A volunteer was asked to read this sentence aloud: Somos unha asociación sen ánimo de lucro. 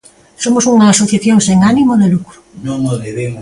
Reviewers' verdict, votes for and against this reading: rejected, 0, 2